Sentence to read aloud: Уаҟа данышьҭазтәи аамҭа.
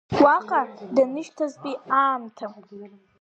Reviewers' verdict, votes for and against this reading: accepted, 2, 0